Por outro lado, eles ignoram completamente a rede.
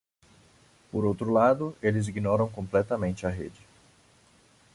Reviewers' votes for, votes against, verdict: 2, 0, accepted